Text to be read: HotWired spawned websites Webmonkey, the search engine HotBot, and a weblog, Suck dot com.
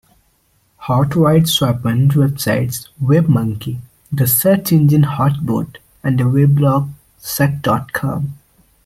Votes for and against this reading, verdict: 0, 2, rejected